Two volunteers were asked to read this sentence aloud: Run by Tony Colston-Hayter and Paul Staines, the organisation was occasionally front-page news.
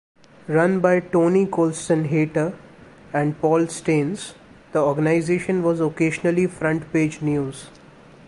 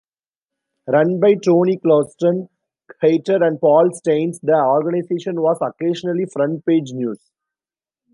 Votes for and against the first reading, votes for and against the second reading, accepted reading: 2, 0, 0, 2, first